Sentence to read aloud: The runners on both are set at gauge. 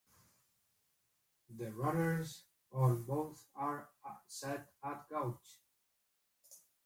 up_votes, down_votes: 0, 2